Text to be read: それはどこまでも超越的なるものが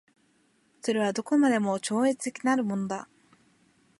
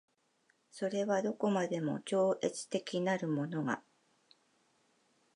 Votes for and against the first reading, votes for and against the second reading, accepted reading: 0, 2, 2, 0, second